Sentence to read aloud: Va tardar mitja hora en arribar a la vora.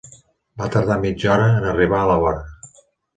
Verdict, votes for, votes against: accepted, 3, 0